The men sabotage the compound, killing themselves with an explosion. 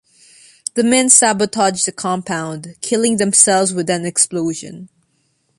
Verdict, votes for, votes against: accepted, 2, 0